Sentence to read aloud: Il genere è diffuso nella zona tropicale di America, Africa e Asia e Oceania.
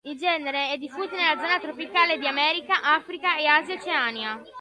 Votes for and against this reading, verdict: 2, 1, accepted